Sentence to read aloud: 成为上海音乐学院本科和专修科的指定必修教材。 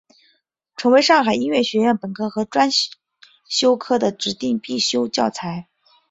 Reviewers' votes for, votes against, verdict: 2, 1, accepted